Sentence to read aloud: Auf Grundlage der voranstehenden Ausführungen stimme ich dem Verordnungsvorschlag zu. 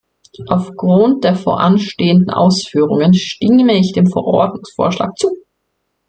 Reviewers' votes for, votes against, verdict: 0, 2, rejected